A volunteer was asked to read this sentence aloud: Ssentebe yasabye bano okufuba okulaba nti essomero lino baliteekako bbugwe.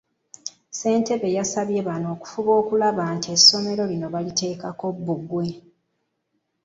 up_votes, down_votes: 2, 0